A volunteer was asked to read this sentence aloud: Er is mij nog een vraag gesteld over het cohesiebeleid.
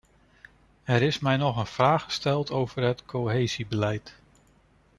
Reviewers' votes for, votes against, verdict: 0, 2, rejected